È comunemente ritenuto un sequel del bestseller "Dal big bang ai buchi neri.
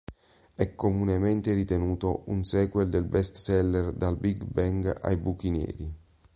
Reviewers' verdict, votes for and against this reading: accepted, 3, 1